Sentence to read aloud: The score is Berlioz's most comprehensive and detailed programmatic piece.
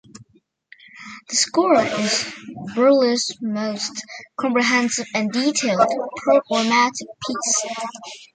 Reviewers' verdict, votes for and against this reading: rejected, 1, 2